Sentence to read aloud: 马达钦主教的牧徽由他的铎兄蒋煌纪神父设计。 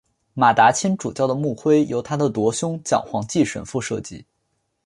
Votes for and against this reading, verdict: 3, 0, accepted